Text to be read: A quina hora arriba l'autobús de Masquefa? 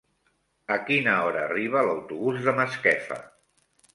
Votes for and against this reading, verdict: 3, 1, accepted